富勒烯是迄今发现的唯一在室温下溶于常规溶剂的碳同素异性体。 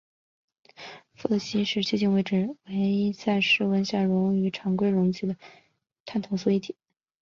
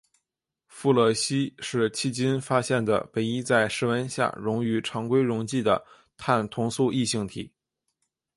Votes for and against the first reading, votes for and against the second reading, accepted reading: 1, 2, 2, 1, second